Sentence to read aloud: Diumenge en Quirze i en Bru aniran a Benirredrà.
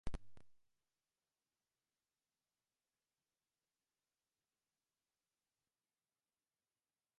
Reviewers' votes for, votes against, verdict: 0, 2, rejected